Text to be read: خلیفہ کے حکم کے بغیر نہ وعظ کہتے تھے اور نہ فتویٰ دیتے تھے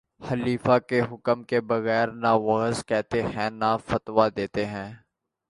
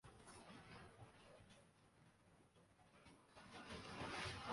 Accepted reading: first